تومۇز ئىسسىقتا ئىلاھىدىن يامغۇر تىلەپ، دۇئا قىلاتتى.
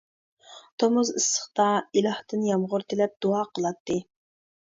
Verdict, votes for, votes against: rejected, 1, 2